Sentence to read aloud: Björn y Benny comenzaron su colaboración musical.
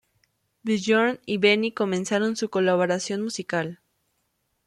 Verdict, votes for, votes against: accepted, 2, 0